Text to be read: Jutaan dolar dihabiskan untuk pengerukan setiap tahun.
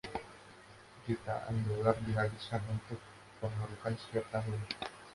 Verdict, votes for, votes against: rejected, 1, 2